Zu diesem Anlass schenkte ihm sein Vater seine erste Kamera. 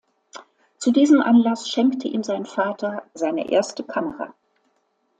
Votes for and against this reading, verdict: 2, 0, accepted